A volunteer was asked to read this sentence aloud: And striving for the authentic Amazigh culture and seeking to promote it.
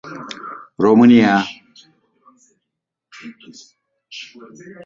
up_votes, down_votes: 0, 2